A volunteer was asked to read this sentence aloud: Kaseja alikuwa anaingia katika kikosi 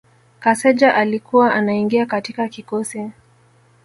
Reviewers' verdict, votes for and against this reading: accepted, 2, 0